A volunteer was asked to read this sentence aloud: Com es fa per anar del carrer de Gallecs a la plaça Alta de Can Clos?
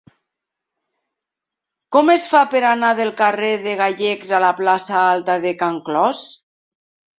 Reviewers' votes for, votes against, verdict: 4, 0, accepted